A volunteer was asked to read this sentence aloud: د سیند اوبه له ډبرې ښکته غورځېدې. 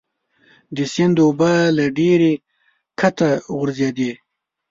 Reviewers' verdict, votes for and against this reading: rejected, 0, 2